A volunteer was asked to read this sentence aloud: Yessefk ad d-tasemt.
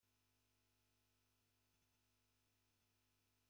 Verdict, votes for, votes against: rejected, 1, 2